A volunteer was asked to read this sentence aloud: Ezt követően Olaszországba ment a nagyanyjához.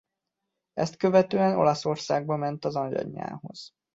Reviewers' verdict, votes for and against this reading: rejected, 0, 2